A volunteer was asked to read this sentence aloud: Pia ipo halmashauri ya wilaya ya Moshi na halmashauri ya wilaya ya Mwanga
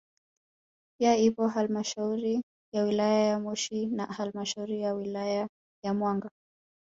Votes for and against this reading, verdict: 1, 2, rejected